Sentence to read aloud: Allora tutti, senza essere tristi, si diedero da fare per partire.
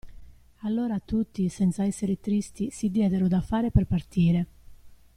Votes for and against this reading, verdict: 2, 0, accepted